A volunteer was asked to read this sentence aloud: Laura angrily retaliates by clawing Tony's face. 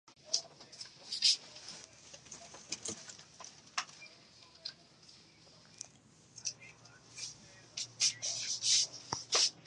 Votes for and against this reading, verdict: 0, 2, rejected